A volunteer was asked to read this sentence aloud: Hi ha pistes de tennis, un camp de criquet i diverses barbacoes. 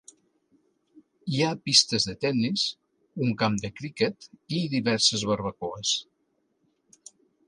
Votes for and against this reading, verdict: 3, 0, accepted